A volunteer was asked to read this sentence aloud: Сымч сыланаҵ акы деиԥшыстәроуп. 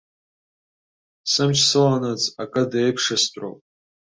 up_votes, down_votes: 2, 0